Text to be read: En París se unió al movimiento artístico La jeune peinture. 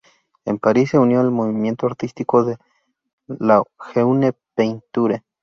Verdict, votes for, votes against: rejected, 0, 2